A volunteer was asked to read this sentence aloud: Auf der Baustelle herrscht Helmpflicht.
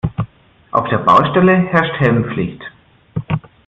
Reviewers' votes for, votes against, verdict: 2, 0, accepted